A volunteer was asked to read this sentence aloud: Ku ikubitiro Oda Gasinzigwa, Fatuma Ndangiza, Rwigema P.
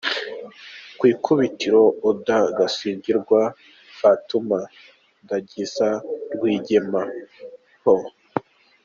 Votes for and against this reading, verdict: 1, 2, rejected